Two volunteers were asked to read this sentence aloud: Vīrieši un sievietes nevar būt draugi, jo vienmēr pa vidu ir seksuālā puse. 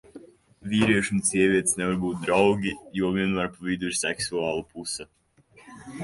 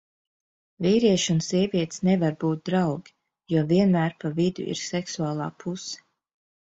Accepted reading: second